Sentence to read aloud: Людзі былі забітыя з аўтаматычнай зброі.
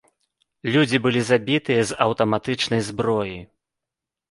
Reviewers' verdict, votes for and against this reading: accepted, 2, 0